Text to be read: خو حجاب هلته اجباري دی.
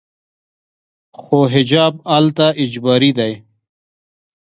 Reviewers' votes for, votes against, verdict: 2, 0, accepted